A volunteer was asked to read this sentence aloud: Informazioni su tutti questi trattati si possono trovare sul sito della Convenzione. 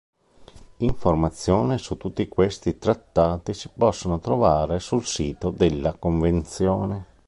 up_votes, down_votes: 0, 2